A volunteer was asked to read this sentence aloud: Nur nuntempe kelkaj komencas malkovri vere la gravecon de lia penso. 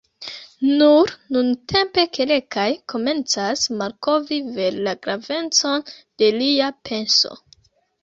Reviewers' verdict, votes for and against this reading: rejected, 0, 2